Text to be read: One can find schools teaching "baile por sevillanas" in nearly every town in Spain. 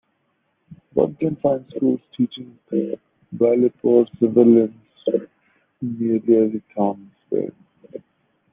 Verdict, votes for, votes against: rejected, 0, 2